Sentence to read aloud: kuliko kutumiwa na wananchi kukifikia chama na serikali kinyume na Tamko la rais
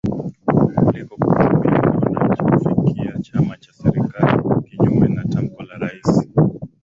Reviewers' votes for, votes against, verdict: 0, 2, rejected